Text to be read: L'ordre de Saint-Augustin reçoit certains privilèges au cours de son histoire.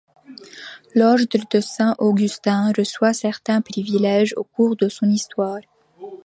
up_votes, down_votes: 1, 2